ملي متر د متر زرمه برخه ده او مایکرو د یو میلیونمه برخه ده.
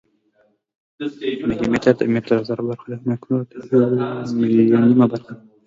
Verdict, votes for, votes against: rejected, 1, 2